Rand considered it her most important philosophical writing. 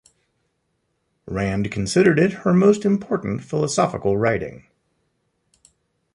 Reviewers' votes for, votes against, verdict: 2, 0, accepted